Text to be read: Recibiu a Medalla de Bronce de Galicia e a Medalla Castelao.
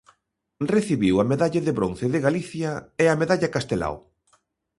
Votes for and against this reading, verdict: 2, 0, accepted